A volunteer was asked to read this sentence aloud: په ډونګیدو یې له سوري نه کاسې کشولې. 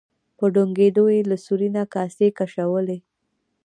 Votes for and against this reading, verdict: 1, 2, rejected